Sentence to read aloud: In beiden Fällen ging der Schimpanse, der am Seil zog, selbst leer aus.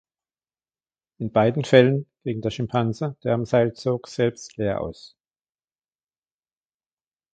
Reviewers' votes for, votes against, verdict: 2, 0, accepted